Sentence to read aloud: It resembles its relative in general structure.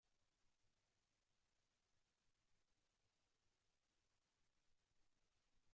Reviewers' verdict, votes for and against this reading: rejected, 0, 2